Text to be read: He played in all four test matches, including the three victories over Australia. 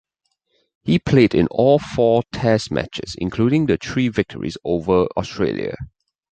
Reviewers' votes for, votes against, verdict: 2, 0, accepted